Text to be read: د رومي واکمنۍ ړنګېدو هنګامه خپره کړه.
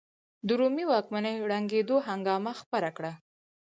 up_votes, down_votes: 4, 0